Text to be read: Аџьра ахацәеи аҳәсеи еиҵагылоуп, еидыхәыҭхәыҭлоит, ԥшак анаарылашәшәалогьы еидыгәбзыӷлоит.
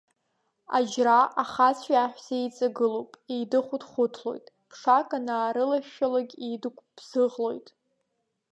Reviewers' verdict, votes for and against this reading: accepted, 2, 1